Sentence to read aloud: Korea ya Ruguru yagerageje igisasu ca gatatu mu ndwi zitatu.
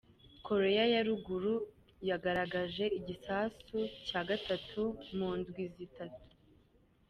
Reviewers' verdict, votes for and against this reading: accepted, 2, 0